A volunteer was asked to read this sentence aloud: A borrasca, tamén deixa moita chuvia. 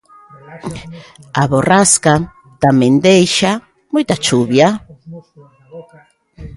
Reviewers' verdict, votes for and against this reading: rejected, 0, 2